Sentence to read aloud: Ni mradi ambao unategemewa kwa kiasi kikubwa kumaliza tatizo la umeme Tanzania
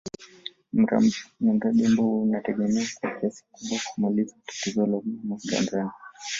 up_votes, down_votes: 0, 2